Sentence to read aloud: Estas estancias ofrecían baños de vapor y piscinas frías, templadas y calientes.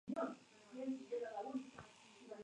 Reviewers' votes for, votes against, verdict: 2, 2, rejected